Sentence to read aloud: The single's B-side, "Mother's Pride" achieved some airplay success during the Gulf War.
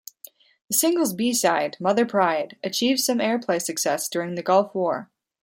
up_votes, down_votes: 1, 2